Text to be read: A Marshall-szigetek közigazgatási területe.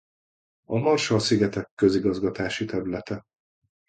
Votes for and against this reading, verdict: 2, 0, accepted